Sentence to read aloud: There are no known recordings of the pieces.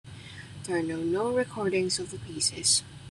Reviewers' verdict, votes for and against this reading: rejected, 1, 2